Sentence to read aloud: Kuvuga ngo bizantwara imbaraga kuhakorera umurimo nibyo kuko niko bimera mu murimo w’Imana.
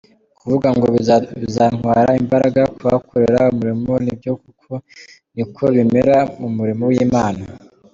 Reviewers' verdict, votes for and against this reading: rejected, 0, 3